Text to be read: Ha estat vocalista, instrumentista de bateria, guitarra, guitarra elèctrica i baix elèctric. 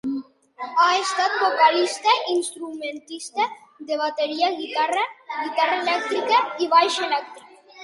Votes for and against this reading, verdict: 1, 2, rejected